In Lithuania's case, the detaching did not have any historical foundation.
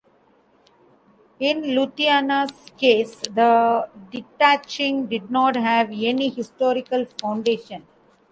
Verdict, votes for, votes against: rejected, 0, 2